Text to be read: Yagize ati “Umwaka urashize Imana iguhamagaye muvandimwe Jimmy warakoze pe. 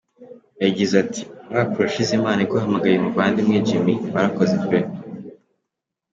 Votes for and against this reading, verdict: 3, 1, accepted